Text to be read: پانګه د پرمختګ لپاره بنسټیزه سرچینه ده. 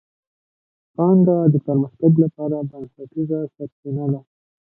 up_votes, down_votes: 2, 1